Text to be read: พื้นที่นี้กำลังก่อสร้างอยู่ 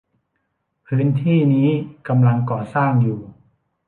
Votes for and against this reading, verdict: 2, 0, accepted